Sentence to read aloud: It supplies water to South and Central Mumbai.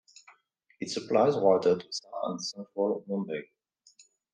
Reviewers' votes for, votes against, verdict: 2, 1, accepted